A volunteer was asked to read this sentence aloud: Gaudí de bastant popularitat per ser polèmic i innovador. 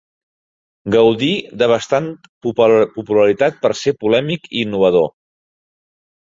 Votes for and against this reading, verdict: 0, 2, rejected